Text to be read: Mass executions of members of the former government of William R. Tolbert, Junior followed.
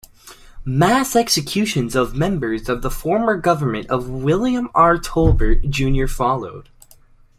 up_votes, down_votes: 2, 0